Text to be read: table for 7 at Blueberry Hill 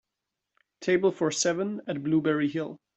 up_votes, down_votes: 0, 2